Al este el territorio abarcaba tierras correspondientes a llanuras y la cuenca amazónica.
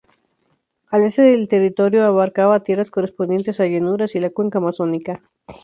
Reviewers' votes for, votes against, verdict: 0, 2, rejected